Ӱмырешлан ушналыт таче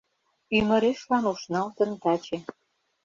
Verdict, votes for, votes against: rejected, 0, 2